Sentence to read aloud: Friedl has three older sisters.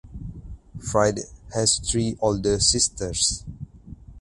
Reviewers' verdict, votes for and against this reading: accepted, 4, 0